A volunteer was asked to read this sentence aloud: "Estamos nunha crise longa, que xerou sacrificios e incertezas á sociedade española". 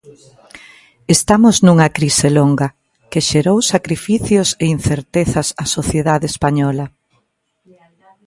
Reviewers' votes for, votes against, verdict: 2, 0, accepted